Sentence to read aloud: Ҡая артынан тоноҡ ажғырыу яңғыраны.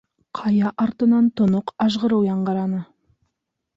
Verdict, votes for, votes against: accepted, 3, 0